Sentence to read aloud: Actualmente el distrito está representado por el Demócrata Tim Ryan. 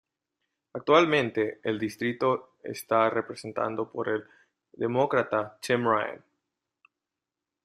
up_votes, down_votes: 0, 2